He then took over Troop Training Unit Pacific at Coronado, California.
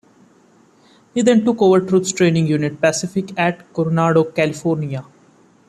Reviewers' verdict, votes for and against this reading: accepted, 2, 0